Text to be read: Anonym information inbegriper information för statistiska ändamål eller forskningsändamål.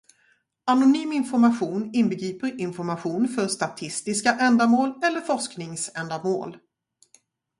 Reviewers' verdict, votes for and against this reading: accepted, 4, 0